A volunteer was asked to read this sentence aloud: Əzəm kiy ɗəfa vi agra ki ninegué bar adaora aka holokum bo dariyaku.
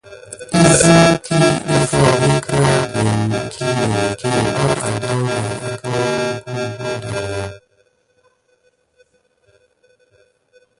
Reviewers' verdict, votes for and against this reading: rejected, 1, 2